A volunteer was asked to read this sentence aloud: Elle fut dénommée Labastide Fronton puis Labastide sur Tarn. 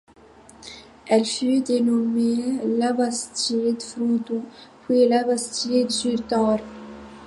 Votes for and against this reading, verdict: 0, 2, rejected